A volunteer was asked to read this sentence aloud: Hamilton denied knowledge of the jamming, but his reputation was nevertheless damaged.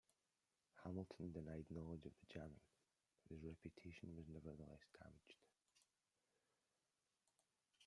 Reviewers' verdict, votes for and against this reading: rejected, 0, 2